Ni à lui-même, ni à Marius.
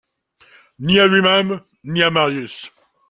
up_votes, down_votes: 2, 0